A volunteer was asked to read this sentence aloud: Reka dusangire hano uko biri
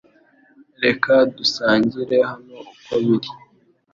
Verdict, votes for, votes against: accepted, 2, 0